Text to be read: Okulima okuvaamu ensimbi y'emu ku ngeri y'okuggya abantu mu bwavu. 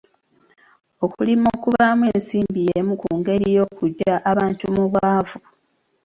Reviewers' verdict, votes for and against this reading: rejected, 1, 2